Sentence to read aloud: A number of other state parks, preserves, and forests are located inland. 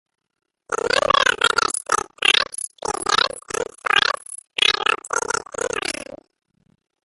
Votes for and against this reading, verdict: 0, 2, rejected